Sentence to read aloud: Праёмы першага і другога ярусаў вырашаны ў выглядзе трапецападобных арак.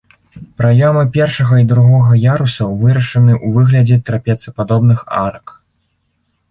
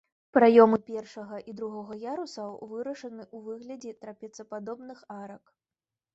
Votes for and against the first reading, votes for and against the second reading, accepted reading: 1, 2, 3, 0, second